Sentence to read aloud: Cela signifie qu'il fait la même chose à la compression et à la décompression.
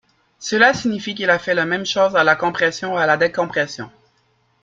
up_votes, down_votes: 0, 2